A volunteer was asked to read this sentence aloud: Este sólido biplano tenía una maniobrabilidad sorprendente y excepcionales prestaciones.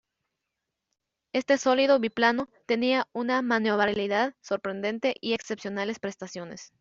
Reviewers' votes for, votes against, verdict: 0, 2, rejected